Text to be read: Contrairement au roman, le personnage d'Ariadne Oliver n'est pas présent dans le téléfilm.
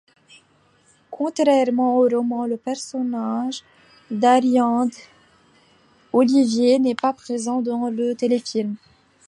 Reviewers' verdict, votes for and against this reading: rejected, 0, 2